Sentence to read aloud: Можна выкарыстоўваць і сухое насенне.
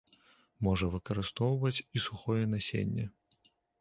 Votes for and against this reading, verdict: 1, 2, rejected